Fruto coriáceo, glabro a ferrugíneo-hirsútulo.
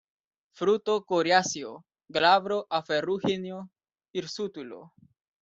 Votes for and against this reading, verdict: 1, 2, rejected